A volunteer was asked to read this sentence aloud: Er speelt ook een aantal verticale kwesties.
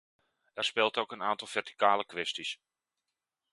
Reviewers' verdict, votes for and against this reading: accepted, 2, 0